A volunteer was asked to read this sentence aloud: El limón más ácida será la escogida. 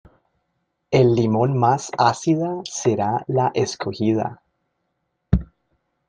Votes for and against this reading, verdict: 1, 2, rejected